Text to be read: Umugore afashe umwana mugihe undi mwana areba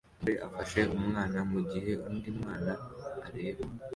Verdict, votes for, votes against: accepted, 2, 1